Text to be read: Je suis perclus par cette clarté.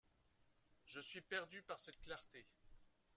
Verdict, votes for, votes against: rejected, 0, 2